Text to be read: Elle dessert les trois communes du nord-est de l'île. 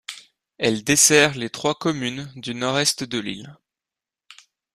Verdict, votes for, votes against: accepted, 2, 0